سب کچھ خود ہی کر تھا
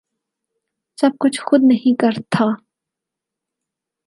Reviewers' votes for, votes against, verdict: 0, 4, rejected